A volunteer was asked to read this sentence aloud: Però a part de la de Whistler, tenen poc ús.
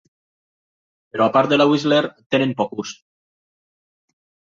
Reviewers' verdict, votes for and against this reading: rejected, 0, 2